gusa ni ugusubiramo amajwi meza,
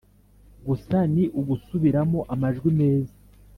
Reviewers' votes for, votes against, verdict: 2, 0, accepted